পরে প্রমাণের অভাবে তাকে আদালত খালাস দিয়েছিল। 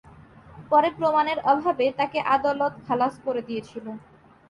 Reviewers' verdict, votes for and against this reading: accepted, 2, 0